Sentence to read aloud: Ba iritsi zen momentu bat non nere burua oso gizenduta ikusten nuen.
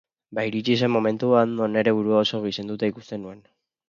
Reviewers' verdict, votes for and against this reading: accepted, 10, 0